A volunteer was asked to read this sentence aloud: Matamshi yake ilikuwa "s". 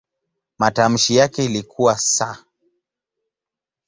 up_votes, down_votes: 3, 0